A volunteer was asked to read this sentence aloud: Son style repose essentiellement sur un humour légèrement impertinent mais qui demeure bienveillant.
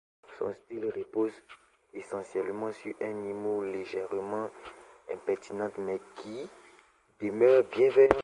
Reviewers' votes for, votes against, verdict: 0, 2, rejected